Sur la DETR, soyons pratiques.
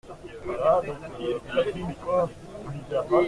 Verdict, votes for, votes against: rejected, 0, 2